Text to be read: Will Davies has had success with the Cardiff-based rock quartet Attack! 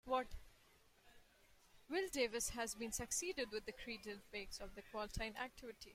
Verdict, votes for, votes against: rejected, 0, 2